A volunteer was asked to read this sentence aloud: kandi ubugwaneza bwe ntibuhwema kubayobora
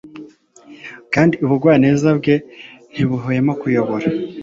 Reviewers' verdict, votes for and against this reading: rejected, 1, 2